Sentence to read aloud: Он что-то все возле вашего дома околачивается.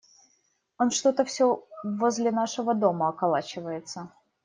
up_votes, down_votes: 0, 2